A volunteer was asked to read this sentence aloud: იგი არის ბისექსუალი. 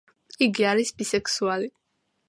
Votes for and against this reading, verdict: 2, 0, accepted